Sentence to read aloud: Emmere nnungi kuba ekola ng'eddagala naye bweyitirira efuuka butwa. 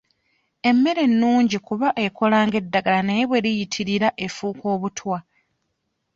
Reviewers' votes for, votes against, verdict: 1, 2, rejected